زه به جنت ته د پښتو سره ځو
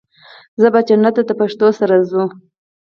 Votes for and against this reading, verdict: 2, 4, rejected